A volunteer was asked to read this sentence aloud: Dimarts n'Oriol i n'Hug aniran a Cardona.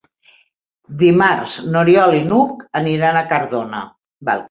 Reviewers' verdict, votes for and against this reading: rejected, 0, 2